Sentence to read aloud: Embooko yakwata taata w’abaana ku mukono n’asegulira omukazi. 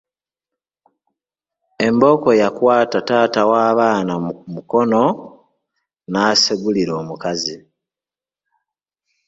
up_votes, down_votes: 1, 2